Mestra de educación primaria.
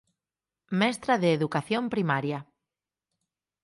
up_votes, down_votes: 4, 0